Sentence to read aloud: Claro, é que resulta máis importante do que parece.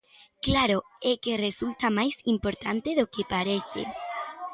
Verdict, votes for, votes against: accepted, 2, 1